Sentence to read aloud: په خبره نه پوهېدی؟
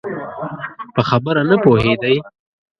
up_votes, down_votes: 0, 2